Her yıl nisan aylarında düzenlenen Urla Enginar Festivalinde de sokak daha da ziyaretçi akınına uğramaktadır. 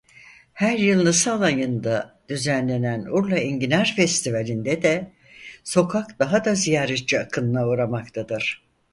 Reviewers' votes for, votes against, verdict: 2, 4, rejected